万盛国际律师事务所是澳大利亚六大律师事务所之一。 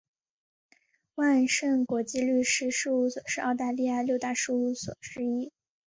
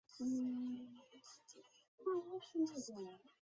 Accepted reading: first